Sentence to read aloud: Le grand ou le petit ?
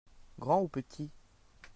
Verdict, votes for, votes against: rejected, 1, 2